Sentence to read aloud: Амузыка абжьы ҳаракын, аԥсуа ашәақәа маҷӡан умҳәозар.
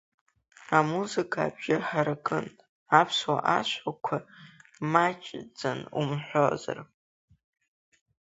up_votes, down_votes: 2, 0